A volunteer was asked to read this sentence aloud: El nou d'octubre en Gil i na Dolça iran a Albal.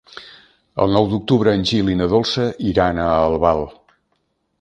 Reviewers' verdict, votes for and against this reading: accepted, 3, 0